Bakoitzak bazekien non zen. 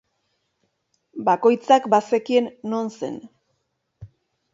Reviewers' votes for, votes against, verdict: 3, 0, accepted